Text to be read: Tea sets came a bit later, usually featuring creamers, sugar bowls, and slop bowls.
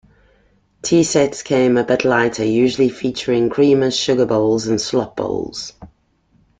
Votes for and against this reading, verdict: 2, 3, rejected